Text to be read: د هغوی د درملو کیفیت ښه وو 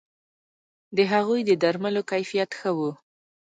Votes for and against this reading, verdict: 1, 2, rejected